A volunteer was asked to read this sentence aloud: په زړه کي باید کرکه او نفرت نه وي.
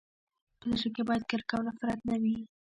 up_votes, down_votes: 2, 0